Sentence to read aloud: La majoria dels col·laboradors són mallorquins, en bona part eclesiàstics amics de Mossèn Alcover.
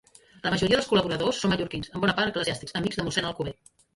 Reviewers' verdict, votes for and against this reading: rejected, 1, 2